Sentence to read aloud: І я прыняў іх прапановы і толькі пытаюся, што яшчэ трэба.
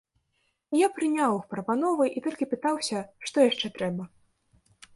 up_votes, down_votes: 0, 2